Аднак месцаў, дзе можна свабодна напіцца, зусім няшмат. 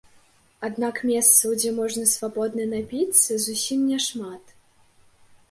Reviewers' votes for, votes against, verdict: 4, 0, accepted